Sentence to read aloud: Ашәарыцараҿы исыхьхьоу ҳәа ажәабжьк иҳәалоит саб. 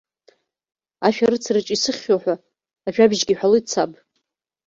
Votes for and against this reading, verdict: 2, 0, accepted